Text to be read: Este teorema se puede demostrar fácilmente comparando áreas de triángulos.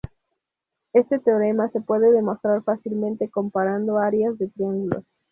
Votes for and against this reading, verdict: 2, 0, accepted